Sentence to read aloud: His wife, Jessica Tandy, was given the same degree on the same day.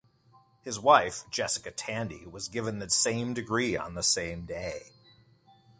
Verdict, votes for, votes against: rejected, 1, 2